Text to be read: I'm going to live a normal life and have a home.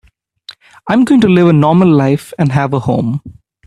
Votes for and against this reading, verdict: 3, 0, accepted